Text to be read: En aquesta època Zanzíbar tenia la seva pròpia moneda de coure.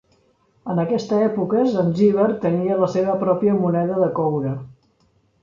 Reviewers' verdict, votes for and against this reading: accepted, 4, 0